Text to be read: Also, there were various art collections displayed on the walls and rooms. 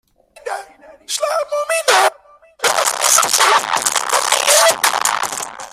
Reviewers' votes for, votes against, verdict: 0, 2, rejected